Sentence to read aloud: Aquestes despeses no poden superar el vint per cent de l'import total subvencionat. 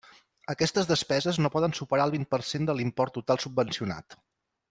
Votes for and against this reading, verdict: 3, 0, accepted